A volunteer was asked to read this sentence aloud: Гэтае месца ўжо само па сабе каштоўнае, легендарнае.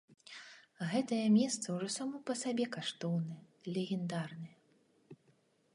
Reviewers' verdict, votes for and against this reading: accepted, 2, 0